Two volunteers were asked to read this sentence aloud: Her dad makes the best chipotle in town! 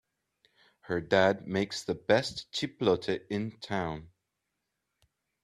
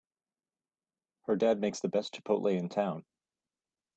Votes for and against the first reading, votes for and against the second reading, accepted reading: 0, 2, 2, 0, second